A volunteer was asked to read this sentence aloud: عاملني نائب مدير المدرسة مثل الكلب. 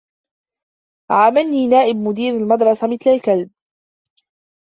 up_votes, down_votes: 1, 2